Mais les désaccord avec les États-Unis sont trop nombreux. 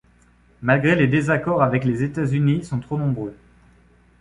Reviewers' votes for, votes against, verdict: 1, 2, rejected